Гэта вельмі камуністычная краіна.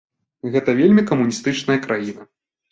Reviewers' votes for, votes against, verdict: 2, 0, accepted